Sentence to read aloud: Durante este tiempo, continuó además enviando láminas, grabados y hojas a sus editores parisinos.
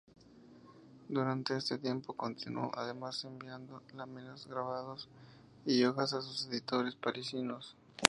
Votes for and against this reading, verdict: 2, 0, accepted